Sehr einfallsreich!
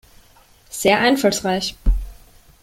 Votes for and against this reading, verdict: 3, 0, accepted